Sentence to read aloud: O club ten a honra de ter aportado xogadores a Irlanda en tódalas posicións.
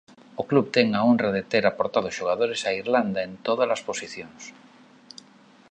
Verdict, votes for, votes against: accepted, 2, 0